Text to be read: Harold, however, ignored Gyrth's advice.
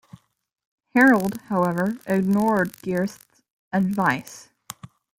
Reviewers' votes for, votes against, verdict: 2, 0, accepted